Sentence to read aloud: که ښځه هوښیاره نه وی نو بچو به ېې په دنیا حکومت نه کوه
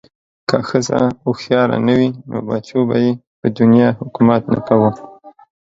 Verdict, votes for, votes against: accepted, 2, 0